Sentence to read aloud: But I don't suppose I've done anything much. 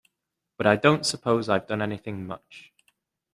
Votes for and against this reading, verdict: 2, 0, accepted